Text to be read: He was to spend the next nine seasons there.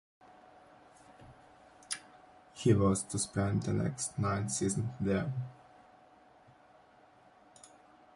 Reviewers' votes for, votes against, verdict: 2, 0, accepted